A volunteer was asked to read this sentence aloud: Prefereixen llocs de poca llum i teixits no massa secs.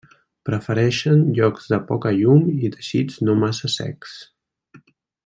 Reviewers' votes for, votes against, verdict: 2, 0, accepted